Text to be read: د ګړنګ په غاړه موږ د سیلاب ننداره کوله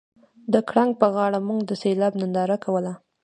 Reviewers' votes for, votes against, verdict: 2, 0, accepted